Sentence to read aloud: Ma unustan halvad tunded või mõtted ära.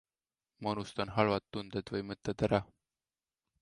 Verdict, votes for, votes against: accepted, 2, 0